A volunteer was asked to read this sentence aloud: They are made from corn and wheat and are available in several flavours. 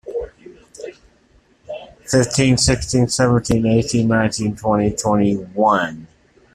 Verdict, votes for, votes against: rejected, 0, 2